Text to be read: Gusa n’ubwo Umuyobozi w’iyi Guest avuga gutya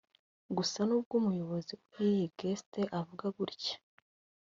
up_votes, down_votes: 2, 1